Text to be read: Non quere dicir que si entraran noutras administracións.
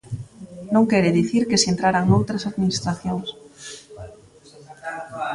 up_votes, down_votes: 2, 0